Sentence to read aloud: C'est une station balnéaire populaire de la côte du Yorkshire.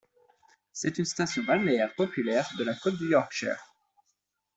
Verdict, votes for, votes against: accepted, 2, 1